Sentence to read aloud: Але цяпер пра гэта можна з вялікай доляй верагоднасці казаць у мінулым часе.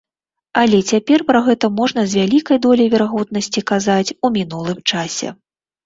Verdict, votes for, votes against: accepted, 2, 0